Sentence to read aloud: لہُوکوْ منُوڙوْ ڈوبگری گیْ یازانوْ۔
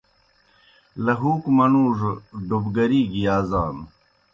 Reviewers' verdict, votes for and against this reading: accepted, 2, 0